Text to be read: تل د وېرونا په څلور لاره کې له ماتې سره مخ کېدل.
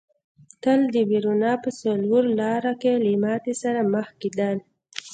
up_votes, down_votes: 2, 0